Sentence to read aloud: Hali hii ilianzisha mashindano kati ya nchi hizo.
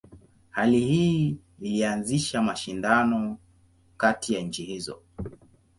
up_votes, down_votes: 2, 0